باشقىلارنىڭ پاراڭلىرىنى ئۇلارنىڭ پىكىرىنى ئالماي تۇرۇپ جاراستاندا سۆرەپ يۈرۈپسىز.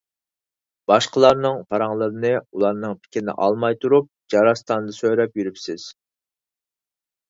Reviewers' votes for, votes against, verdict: 4, 0, accepted